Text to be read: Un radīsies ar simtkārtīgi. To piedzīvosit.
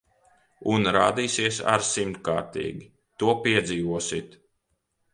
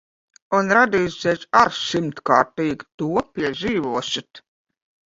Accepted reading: second